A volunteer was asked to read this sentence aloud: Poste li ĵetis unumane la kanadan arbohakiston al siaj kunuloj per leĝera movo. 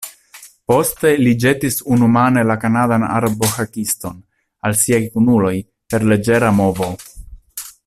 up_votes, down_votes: 0, 2